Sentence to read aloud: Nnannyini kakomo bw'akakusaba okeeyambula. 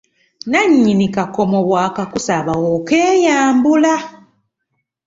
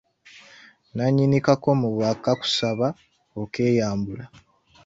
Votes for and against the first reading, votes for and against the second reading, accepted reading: 2, 0, 1, 2, first